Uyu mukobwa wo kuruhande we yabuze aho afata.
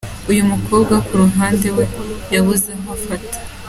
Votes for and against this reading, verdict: 2, 0, accepted